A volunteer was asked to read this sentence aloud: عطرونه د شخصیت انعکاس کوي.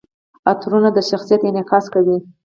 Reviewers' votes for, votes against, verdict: 4, 0, accepted